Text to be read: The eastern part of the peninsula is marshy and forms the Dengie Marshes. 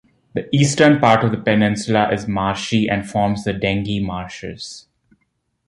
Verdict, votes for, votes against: accepted, 2, 0